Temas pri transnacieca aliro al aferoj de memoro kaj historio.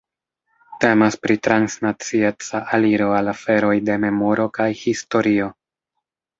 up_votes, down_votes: 2, 0